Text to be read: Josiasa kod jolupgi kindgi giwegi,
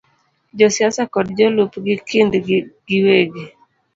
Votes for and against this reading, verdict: 2, 0, accepted